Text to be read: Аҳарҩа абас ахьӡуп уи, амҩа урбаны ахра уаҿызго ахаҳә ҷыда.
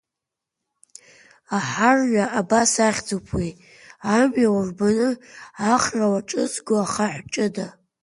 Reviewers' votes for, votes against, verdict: 2, 1, accepted